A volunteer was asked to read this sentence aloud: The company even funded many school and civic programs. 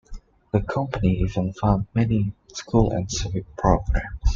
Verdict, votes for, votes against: accepted, 2, 1